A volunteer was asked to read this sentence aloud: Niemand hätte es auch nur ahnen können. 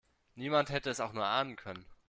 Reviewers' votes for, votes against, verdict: 2, 0, accepted